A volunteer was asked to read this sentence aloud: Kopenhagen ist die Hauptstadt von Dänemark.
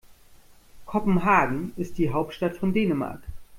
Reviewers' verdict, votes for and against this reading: accepted, 2, 0